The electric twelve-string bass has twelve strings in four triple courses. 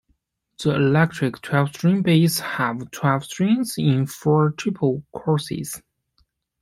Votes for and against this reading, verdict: 1, 2, rejected